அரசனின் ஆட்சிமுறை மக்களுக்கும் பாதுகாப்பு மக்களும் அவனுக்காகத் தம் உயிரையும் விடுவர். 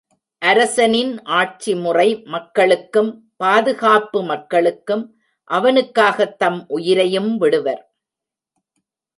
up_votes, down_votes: 1, 2